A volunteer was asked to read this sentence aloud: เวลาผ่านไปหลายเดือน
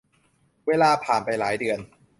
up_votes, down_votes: 2, 0